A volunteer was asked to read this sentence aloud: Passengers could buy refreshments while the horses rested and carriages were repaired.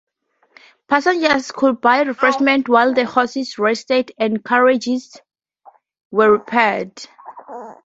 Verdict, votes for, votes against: rejected, 0, 2